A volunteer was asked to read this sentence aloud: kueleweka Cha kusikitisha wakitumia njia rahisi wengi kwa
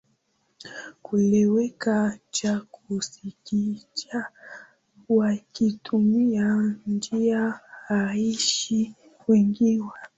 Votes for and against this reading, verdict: 2, 4, rejected